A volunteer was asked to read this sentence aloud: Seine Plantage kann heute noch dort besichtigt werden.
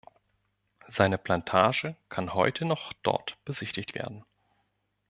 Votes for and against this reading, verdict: 2, 0, accepted